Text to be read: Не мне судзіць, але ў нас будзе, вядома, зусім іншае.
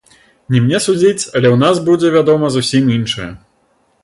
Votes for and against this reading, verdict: 0, 2, rejected